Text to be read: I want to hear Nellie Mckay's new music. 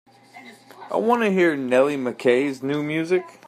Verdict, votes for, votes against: accepted, 3, 0